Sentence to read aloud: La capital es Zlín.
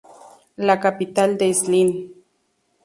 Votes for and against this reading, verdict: 0, 2, rejected